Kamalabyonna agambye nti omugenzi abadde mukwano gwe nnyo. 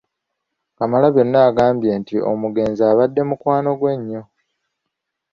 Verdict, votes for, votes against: accepted, 2, 0